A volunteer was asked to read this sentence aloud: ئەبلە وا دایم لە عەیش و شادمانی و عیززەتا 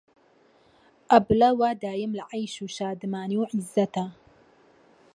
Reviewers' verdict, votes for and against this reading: accepted, 2, 0